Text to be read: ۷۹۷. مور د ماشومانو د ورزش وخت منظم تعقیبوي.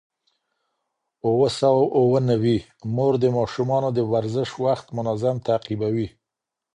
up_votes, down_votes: 0, 2